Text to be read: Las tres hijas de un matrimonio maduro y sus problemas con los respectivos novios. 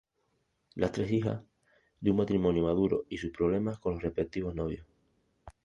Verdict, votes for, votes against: rejected, 0, 2